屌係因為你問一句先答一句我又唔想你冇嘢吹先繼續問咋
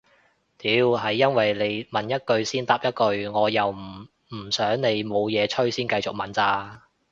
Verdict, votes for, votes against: rejected, 1, 2